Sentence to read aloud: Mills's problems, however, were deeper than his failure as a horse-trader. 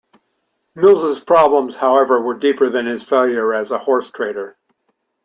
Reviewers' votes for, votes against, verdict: 1, 2, rejected